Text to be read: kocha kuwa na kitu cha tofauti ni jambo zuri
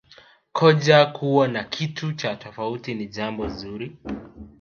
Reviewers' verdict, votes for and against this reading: rejected, 0, 2